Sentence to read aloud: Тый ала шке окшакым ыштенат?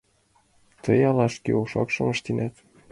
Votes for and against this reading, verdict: 2, 0, accepted